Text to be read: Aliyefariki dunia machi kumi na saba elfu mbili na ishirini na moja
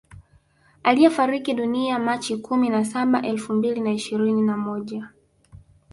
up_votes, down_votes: 0, 2